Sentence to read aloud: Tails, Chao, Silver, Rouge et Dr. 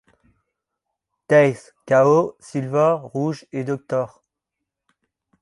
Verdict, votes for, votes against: accepted, 2, 1